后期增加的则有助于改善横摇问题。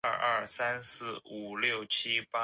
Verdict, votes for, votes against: rejected, 0, 2